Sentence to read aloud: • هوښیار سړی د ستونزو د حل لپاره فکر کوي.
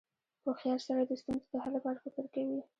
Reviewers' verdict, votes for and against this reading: rejected, 1, 2